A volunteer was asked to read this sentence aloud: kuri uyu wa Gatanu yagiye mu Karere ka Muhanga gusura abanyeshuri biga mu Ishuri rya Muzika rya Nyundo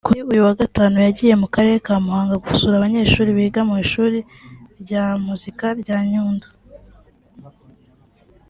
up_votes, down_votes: 2, 0